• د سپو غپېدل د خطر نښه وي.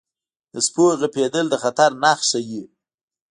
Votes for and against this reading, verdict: 2, 3, rejected